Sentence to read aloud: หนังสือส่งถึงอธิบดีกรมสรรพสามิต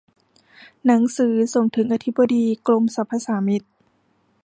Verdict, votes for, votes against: accepted, 2, 0